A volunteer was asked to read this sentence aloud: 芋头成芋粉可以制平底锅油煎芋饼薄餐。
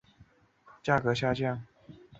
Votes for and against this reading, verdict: 0, 2, rejected